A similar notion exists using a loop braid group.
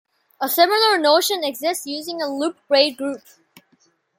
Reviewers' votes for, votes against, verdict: 2, 0, accepted